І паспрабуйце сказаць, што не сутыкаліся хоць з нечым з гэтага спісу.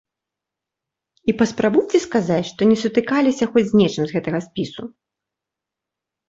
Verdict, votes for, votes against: accepted, 2, 0